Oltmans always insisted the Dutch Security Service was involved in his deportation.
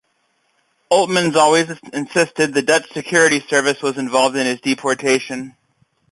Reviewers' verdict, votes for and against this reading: rejected, 1, 2